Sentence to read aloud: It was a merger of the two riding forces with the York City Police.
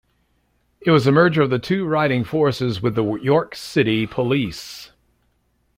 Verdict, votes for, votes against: rejected, 0, 2